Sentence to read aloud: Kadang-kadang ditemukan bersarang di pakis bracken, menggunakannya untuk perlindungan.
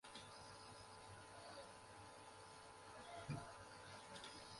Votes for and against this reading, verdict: 0, 2, rejected